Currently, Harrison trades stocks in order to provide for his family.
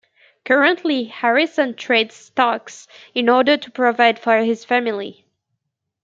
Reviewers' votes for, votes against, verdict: 2, 0, accepted